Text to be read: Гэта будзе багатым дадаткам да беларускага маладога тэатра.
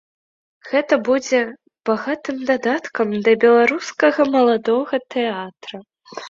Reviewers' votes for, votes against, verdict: 2, 0, accepted